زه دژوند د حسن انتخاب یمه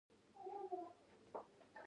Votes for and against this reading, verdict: 1, 2, rejected